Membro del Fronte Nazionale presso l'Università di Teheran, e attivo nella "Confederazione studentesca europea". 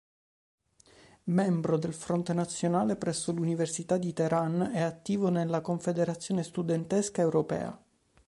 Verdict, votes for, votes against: accepted, 4, 0